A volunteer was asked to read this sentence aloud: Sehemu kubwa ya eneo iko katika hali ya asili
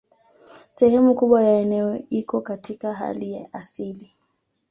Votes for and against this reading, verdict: 2, 0, accepted